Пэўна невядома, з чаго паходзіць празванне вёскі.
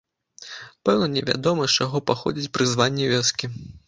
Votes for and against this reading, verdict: 0, 2, rejected